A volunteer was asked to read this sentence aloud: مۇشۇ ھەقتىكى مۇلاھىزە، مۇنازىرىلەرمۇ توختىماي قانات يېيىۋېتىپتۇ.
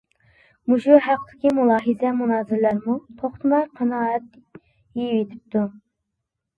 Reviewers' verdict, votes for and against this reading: rejected, 0, 2